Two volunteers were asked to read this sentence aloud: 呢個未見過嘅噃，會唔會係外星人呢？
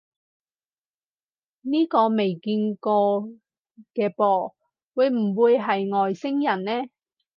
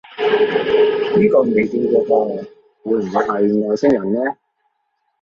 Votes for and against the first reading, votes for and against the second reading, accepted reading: 4, 0, 1, 2, first